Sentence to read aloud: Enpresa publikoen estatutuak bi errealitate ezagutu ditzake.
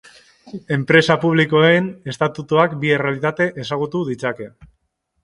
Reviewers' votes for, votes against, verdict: 2, 0, accepted